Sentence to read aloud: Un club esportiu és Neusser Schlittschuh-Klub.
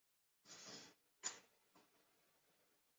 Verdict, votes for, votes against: rejected, 0, 2